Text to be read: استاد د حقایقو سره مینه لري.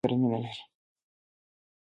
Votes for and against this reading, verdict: 1, 2, rejected